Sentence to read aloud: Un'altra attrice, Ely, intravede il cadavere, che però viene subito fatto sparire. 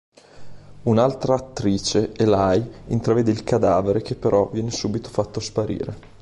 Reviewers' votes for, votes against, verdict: 0, 2, rejected